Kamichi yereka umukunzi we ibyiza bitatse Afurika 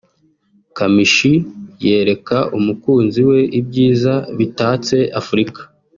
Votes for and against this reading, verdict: 2, 0, accepted